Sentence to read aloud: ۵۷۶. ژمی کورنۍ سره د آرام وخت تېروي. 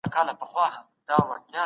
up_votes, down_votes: 0, 2